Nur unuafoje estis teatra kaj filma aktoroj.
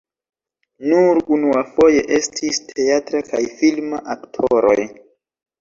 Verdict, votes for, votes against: accepted, 2, 0